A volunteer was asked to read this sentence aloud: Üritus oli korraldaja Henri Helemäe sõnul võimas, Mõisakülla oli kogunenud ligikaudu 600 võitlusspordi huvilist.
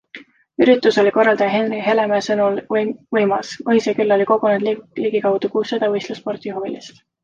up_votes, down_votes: 0, 2